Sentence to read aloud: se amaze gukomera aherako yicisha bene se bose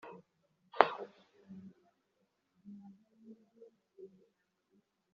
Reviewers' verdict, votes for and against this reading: rejected, 1, 2